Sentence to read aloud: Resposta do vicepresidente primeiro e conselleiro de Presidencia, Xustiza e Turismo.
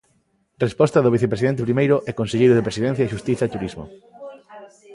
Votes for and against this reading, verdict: 1, 2, rejected